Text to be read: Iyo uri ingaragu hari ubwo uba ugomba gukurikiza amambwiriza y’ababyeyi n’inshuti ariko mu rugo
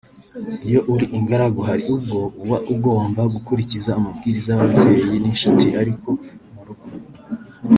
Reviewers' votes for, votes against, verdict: 1, 2, rejected